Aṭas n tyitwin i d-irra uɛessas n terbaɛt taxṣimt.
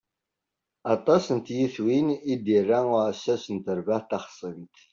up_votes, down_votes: 2, 0